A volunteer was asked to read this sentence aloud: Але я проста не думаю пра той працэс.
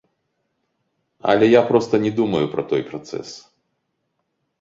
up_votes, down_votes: 2, 0